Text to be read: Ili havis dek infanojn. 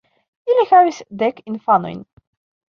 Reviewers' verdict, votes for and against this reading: rejected, 1, 2